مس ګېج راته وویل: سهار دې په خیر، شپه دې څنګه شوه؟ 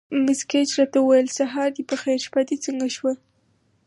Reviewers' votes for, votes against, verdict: 4, 0, accepted